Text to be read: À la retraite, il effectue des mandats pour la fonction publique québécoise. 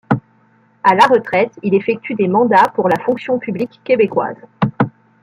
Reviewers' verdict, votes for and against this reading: rejected, 0, 2